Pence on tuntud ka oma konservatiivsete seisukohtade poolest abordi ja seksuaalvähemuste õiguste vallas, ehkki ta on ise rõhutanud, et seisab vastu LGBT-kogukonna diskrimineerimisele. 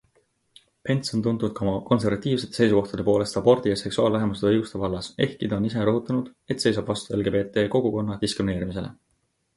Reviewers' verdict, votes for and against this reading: accepted, 2, 0